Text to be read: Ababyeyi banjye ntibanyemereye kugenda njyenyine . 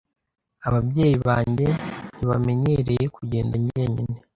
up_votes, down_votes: 1, 2